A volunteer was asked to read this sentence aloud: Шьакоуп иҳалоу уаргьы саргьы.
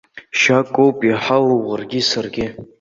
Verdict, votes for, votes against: rejected, 0, 2